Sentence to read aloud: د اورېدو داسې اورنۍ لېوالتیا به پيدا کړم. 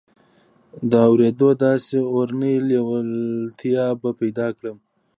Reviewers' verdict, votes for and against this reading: accepted, 2, 0